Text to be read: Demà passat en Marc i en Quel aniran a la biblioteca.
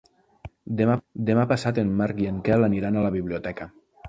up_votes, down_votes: 1, 2